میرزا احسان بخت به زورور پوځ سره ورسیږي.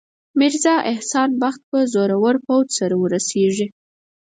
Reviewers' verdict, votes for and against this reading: accepted, 4, 0